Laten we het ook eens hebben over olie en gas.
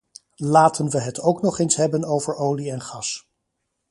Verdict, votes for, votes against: rejected, 0, 2